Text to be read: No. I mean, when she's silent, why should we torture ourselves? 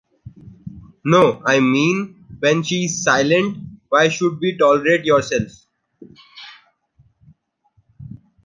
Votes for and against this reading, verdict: 1, 2, rejected